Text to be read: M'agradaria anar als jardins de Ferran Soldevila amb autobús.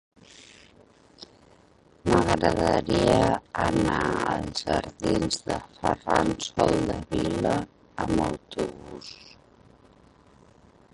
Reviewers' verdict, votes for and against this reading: rejected, 0, 2